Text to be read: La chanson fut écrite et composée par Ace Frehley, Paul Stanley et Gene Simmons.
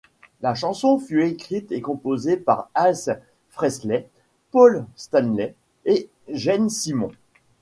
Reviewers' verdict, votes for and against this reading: accepted, 2, 0